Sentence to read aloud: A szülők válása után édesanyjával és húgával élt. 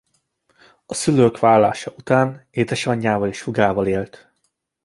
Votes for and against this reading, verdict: 2, 0, accepted